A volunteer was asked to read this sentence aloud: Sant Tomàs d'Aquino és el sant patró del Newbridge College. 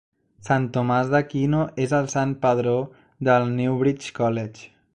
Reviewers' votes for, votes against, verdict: 1, 2, rejected